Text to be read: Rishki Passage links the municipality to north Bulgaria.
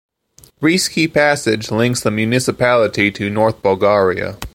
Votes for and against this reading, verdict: 2, 0, accepted